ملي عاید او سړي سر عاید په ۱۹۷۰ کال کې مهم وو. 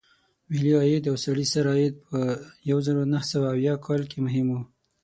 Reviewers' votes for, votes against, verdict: 0, 2, rejected